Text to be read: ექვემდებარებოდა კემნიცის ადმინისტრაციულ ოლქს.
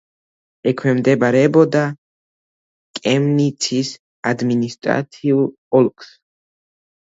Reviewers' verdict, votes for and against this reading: rejected, 1, 2